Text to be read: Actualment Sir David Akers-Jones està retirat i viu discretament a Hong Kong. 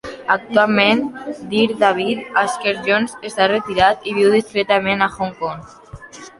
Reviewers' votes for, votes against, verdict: 1, 2, rejected